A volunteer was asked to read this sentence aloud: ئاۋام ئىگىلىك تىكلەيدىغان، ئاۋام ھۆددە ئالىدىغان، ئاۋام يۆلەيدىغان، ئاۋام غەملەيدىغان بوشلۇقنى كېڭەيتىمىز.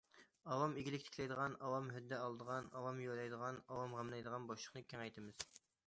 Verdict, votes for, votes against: accepted, 2, 0